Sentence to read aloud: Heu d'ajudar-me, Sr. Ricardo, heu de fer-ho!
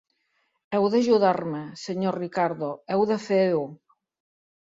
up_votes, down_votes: 2, 0